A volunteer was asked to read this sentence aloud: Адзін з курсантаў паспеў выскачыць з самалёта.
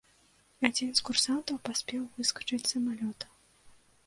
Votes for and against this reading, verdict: 2, 0, accepted